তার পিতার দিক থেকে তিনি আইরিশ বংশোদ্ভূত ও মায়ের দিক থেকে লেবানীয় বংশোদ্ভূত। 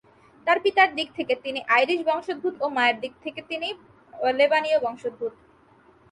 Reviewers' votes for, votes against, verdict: 2, 2, rejected